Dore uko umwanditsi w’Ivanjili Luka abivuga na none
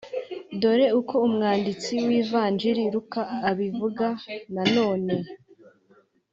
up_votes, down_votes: 2, 0